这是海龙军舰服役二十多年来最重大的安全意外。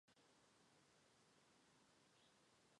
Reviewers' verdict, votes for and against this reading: rejected, 0, 2